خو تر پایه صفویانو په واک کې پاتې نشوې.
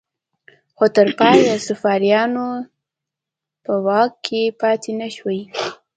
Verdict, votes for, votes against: accepted, 2, 0